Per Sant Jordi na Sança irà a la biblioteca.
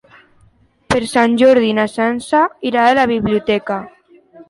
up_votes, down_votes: 3, 0